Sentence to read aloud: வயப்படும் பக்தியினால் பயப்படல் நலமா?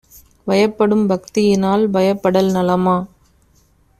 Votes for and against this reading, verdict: 2, 0, accepted